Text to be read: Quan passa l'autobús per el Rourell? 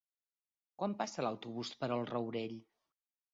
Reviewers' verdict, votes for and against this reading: accepted, 4, 0